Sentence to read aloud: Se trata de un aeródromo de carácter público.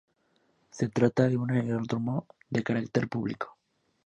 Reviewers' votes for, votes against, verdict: 1, 2, rejected